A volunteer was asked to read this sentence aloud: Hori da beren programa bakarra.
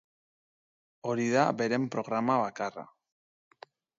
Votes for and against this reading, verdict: 2, 0, accepted